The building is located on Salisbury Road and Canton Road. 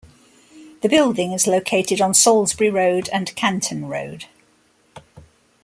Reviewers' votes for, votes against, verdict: 2, 0, accepted